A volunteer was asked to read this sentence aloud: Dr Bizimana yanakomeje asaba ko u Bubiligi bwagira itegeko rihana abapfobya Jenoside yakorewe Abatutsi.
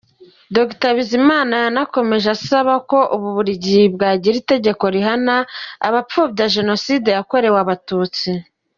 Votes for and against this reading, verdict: 2, 0, accepted